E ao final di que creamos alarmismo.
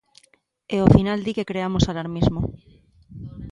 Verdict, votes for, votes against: accepted, 3, 0